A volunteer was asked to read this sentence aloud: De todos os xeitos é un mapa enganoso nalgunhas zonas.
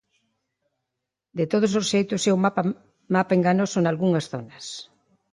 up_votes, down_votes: 0, 2